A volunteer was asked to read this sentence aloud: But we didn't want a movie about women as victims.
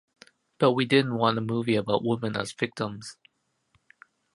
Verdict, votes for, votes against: rejected, 0, 2